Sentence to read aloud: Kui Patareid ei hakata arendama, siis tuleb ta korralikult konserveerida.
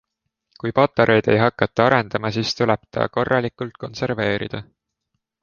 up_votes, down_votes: 2, 0